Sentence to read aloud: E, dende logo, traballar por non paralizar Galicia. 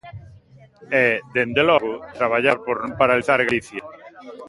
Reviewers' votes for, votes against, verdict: 0, 2, rejected